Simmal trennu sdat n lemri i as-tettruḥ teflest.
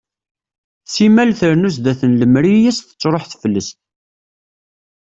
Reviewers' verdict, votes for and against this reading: accepted, 2, 0